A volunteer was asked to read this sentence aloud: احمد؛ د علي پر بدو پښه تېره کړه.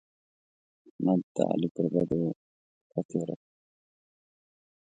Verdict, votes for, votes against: rejected, 1, 2